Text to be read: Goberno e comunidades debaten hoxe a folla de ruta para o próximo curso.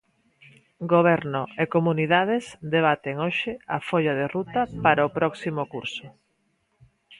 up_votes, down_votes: 0, 2